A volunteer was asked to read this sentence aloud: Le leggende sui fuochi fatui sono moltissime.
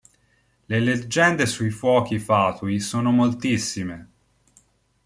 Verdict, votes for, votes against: accepted, 2, 0